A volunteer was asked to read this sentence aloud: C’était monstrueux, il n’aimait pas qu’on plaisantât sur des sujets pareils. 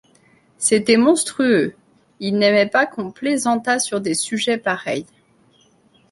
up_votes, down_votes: 2, 0